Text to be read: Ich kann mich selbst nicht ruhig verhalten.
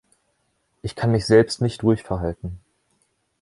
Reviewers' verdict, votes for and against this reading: accepted, 3, 0